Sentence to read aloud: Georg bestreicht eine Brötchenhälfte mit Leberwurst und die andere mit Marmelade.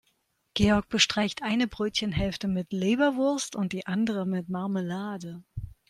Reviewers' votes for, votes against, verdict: 4, 0, accepted